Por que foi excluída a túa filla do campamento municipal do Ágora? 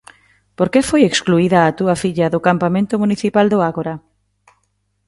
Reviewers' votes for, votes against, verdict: 3, 0, accepted